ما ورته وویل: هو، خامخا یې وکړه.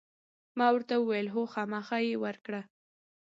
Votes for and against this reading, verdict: 1, 2, rejected